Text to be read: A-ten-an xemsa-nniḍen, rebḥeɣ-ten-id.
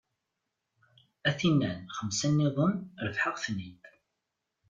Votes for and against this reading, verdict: 2, 1, accepted